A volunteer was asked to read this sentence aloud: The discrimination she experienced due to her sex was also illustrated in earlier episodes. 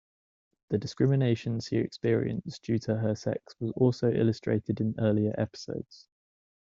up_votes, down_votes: 2, 0